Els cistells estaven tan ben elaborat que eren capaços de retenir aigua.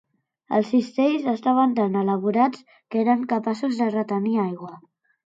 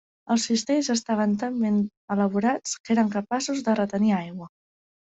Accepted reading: second